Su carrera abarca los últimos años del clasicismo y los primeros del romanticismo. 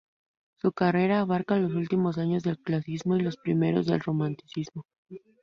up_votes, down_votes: 0, 2